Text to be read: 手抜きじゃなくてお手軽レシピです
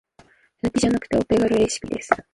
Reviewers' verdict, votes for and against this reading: rejected, 1, 3